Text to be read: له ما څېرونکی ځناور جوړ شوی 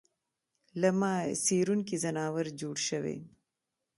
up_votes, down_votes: 1, 2